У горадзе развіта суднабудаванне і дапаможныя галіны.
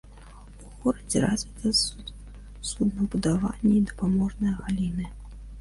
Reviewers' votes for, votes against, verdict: 0, 2, rejected